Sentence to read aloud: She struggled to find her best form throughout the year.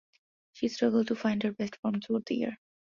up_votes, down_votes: 2, 0